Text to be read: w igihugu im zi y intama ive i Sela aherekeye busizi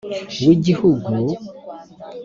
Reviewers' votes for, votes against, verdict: 2, 4, rejected